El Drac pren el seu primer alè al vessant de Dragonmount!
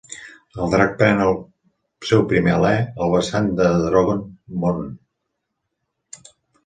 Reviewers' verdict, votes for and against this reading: accepted, 2, 1